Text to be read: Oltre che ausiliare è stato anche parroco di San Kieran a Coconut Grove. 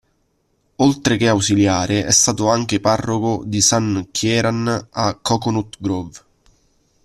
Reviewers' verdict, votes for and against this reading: rejected, 1, 2